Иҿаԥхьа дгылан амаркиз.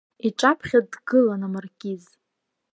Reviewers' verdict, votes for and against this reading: accepted, 2, 0